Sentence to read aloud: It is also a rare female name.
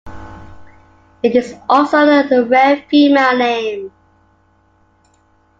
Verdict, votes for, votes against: rejected, 0, 2